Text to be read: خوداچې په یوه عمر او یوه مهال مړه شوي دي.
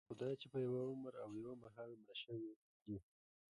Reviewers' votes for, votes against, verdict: 1, 2, rejected